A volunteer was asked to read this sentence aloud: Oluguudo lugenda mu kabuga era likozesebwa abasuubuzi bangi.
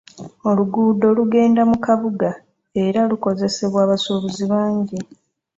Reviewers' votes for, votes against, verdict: 1, 2, rejected